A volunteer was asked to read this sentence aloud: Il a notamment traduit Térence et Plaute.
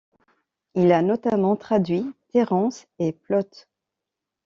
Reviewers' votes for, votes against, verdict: 2, 0, accepted